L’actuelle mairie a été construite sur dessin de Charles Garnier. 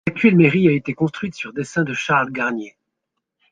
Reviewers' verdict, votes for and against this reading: rejected, 0, 2